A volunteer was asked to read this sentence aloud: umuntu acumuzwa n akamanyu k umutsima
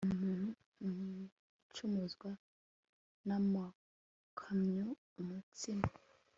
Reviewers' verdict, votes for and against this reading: rejected, 0, 2